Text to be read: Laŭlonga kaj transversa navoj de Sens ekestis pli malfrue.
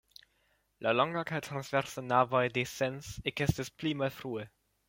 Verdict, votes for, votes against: rejected, 0, 2